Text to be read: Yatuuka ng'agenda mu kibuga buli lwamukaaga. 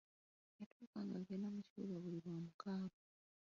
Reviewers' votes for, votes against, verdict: 0, 2, rejected